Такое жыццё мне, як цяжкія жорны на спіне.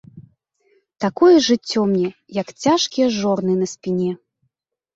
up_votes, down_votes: 1, 2